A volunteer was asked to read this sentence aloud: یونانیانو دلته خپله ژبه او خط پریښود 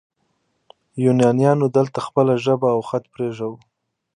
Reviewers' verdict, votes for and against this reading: accepted, 2, 0